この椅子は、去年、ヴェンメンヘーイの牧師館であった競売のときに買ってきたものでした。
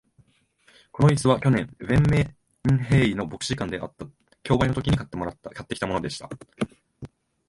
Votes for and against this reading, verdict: 1, 3, rejected